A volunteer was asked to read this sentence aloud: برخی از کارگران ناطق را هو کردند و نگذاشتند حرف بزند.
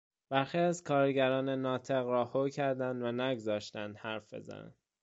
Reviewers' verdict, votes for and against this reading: rejected, 1, 2